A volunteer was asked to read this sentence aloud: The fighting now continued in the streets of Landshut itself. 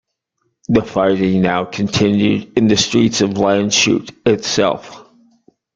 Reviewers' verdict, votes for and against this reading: rejected, 0, 2